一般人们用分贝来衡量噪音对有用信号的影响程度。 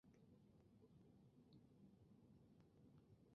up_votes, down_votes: 0, 2